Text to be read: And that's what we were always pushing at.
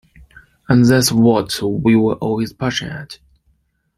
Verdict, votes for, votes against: rejected, 0, 2